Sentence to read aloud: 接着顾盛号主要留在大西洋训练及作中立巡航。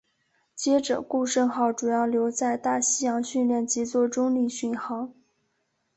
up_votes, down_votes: 4, 0